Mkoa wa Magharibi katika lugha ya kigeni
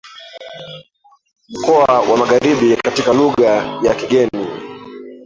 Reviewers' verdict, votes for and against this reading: rejected, 0, 2